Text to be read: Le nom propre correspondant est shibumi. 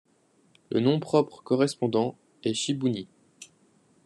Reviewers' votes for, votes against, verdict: 0, 2, rejected